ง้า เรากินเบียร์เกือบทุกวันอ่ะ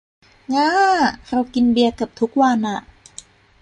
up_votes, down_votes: 2, 0